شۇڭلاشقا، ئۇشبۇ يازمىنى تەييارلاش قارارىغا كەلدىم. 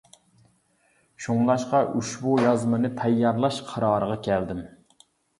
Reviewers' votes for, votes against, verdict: 2, 0, accepted